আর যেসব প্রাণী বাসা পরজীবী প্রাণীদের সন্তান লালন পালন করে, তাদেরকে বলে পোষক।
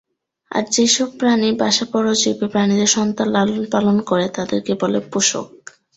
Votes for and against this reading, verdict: 2, 2, rejected